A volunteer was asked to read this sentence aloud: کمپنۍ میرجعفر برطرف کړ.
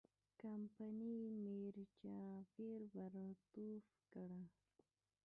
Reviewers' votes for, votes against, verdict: 3, 1, accepted